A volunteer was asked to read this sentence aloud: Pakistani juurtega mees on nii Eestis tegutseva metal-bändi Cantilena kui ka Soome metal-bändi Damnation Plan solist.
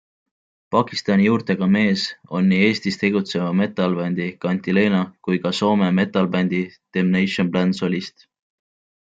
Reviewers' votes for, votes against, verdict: 2, 0, accepted